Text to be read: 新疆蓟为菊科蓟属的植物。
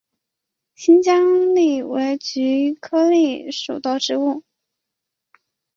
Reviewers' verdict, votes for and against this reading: rejected, 1, 2